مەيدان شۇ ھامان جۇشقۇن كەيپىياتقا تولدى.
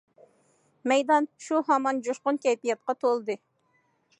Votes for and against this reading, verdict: 2, 0, accepted